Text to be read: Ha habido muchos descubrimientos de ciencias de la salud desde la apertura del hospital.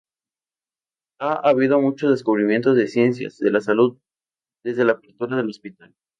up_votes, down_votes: 2, 2